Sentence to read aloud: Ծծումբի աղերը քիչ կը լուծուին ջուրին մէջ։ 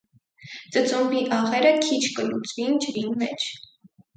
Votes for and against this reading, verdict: 2, 4, rejected